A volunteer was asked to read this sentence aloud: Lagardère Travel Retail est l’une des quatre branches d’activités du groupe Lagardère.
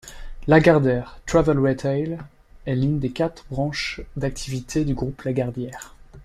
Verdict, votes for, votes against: rejected, 1, 2